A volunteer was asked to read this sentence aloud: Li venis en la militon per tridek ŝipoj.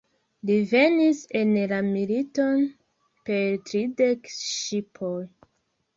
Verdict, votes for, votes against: rejected, 0, 2